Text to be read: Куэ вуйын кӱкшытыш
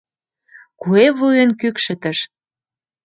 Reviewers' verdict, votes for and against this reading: accepted, 2, 0